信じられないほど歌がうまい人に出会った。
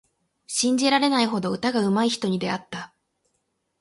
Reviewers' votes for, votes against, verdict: 8, 0, accepted